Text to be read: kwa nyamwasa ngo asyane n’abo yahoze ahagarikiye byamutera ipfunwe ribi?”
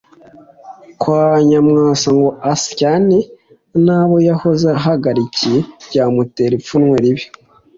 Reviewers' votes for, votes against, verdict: 2, 1, accepted